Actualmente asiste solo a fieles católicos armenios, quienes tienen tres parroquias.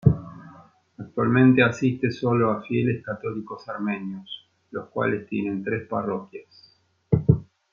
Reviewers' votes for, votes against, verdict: 1, 2, rejected